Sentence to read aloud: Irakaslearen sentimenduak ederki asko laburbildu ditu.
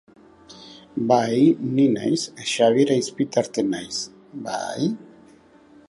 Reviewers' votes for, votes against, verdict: 0, 4, rejected